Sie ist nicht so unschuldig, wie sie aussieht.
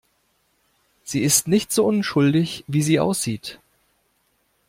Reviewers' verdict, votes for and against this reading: accepted, 2, 0